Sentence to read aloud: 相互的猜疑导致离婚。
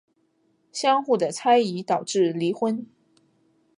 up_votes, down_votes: 2, 0